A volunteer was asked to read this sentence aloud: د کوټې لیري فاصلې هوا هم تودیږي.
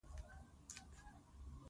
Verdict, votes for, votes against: rejected, 0, 4